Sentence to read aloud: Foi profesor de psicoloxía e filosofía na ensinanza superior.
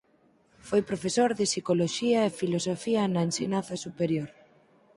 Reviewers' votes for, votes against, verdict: 4, 0, accepted